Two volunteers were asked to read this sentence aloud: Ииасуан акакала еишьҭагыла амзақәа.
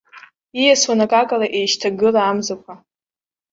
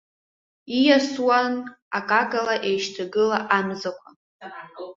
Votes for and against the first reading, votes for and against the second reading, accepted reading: 2, 0, 0, 2, first